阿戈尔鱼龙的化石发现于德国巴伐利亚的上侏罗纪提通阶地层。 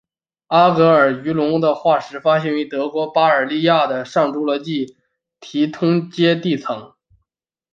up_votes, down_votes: 0, 2